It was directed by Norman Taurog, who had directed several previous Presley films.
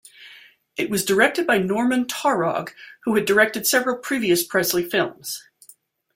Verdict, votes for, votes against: accepted, 2, 0